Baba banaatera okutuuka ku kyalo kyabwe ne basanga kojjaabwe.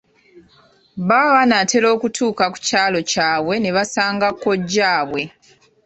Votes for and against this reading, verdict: 2, 0, accepted